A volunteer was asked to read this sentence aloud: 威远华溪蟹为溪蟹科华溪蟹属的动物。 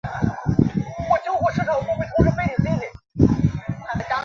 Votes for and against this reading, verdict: 1, 2, rejected